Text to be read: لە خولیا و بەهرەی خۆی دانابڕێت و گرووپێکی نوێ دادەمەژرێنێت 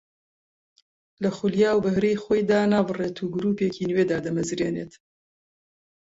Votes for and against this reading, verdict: 2, 0, accepted